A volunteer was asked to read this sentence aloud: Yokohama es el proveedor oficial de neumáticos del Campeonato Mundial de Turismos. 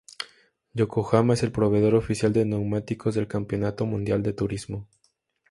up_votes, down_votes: 2, 0